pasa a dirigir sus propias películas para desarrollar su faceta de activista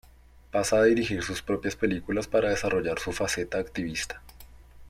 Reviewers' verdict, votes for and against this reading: rejected, 1, 2